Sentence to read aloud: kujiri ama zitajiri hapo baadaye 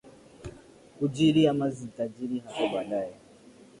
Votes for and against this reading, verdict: 2, 0, accepted